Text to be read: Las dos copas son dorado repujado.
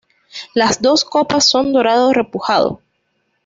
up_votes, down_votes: 2, 0